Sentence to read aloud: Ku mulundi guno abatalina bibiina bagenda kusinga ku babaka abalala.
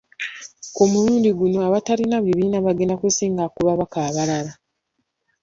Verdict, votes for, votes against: rejected, 0, 2